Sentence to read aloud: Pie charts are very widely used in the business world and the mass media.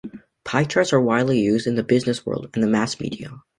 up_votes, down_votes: 1, 2